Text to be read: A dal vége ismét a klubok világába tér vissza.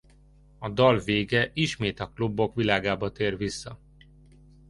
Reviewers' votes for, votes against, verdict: 2, 0, accepted